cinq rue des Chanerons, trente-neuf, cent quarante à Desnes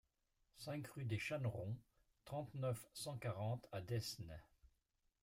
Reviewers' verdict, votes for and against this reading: rejected, 1, 2